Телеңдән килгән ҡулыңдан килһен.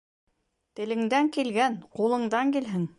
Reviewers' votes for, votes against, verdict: 2, 0, accepted